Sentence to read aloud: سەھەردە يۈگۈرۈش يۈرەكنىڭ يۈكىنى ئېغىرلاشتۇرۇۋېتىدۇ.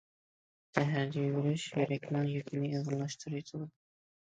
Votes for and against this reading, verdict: 1, 2, rejected